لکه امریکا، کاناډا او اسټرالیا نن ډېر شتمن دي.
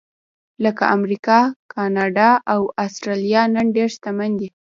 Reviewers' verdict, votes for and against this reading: rejected, 1, 2